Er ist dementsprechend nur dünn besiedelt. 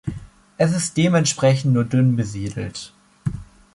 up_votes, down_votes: 0, 2